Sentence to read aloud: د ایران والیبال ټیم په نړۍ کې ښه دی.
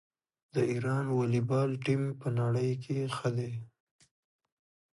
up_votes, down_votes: 2, 1